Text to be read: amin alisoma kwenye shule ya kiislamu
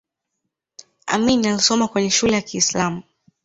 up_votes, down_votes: 2, 0